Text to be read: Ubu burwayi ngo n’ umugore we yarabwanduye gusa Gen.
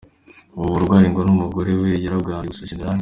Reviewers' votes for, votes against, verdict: 2, 0, accepted